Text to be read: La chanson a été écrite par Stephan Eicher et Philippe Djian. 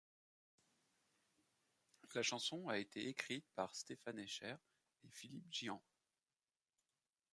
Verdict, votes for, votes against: accepted, 2, 1